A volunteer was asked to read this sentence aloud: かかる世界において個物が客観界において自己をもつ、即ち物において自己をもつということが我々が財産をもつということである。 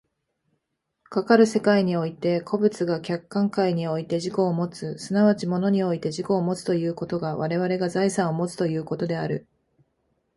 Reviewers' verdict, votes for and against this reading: accepted, 2, 1